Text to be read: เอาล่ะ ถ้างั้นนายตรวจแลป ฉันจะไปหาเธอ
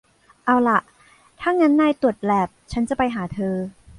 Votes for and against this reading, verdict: 1, 2, rejected